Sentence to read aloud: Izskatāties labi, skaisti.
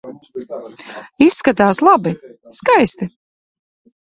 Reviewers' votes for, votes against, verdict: 0, 2, rejected